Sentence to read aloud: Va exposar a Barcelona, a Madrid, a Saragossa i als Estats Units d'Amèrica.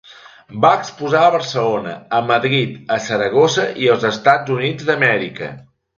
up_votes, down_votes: 2, 0